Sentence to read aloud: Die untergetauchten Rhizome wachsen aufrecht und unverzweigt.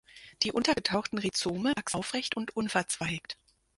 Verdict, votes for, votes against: rejected, 0, 6